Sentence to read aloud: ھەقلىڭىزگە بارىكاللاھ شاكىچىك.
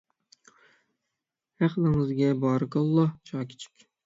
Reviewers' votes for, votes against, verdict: 6, 0, accepted